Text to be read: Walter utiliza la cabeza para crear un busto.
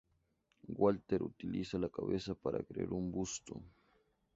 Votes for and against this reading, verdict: 2, 0, accepted